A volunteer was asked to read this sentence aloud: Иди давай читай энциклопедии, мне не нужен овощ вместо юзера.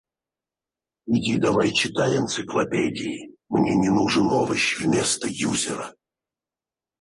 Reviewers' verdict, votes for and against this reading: rejected, 0, 4